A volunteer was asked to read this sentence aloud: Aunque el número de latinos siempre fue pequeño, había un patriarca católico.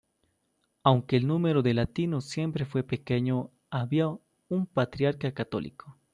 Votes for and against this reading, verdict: 2, 0, accepted